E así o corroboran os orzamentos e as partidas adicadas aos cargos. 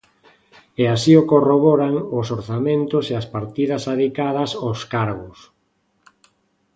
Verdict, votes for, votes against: accepted, 2, 0